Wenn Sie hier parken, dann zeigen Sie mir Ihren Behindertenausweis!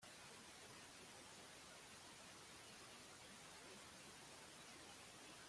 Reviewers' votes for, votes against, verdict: 0, 2, rejected